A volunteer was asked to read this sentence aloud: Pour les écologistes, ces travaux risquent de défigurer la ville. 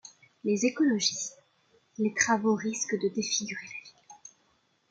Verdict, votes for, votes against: rejected, 0, 2